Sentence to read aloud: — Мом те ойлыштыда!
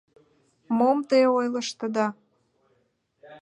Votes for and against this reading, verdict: 2, 0, accepted